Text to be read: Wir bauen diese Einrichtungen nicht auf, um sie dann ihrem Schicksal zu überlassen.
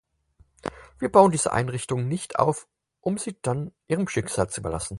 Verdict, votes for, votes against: accepted, 4, 0